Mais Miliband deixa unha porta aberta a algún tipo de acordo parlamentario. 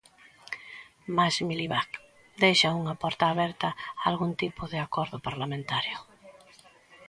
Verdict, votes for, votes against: accepted, 2, 0